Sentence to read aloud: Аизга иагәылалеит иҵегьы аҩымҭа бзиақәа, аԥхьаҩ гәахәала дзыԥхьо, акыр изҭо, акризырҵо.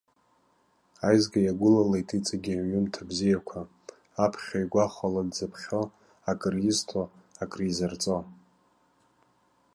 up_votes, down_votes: 2, 0